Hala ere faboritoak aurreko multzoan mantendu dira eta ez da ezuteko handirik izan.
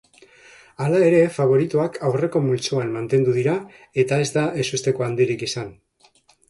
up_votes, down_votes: 2, 1